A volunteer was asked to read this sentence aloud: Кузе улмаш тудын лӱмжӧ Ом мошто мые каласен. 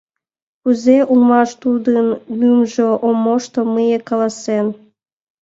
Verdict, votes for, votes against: accepted, 2, 1